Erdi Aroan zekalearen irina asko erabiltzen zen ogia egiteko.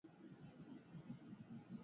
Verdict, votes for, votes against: rejected, 0, 8